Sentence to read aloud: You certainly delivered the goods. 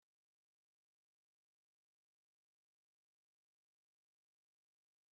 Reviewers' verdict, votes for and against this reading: rejected, 0, 2